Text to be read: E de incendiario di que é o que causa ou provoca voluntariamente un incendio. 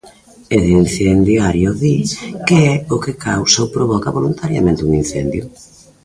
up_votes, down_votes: 2, 0